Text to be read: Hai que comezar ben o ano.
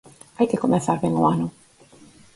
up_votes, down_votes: 4, 0